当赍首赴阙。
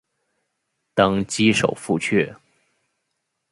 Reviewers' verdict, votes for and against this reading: accepted, 3, 1